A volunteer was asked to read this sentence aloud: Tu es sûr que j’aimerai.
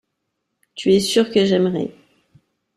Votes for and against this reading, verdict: 2, 0, accepted